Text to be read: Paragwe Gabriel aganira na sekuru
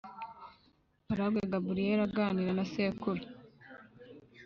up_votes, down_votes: 2, 0